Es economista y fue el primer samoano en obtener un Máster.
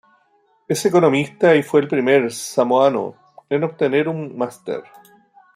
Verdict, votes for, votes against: accepted, 2, 0